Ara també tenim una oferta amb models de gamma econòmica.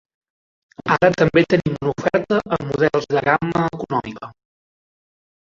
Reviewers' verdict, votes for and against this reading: rejected, 1, 2